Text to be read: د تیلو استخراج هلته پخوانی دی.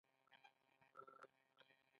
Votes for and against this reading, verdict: 1, 2, rejected